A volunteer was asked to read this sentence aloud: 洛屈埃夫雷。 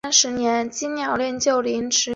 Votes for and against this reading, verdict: 0, 3, rejected